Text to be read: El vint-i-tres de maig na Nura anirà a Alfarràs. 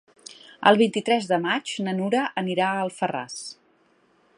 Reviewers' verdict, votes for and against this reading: accepted, 3, 0